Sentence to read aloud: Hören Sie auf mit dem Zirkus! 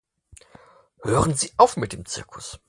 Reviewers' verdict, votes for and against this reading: accepted, 4, 0